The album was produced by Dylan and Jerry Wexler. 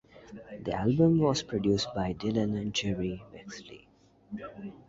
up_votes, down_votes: 0, 2